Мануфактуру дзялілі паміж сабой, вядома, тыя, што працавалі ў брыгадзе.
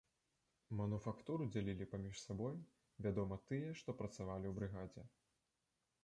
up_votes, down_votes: 3, 1